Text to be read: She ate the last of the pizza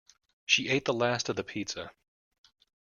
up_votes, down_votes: 1, 2